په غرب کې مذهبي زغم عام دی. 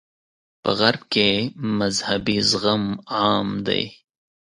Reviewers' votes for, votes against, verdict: 2, 0, accepted